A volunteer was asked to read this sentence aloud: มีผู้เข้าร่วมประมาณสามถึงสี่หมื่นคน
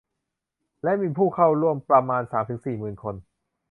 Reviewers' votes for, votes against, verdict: 1, 2, rejected